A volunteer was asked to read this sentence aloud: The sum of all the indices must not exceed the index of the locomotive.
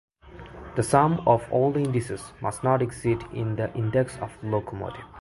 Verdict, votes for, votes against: rejected, 0, 2